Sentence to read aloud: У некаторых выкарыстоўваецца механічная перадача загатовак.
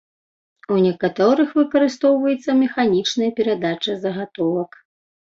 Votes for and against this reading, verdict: 2, 0, accepted